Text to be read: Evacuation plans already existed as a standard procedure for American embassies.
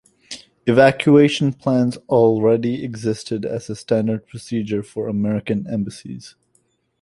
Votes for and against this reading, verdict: 2, 0, accepted